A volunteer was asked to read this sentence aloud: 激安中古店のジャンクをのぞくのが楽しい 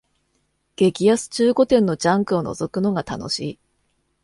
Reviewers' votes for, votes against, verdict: 2, 0, accepted